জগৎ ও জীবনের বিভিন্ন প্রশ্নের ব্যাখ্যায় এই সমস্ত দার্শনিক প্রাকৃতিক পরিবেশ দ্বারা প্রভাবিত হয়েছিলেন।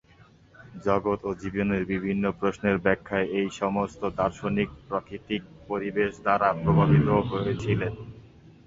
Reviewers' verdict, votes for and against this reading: accepted, 2, 1